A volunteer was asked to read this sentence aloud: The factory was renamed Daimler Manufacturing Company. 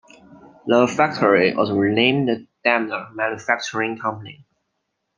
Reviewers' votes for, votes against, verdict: 2, 0, accepted